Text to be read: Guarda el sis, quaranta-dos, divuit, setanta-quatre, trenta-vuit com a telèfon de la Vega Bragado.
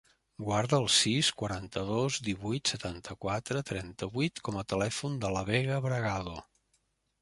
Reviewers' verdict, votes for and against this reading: accepted, 3, 0